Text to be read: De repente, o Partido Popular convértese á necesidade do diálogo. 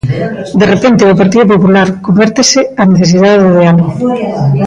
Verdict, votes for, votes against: rejected, 0, 2